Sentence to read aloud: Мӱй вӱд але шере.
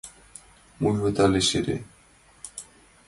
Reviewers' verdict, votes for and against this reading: rejected, 1, 2